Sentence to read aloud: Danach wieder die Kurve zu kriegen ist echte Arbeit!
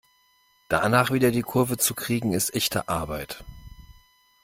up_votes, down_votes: 2, 0